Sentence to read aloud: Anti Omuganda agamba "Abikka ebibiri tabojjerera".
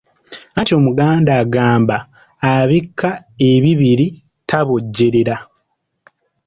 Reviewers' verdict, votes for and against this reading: rejected, 0, 2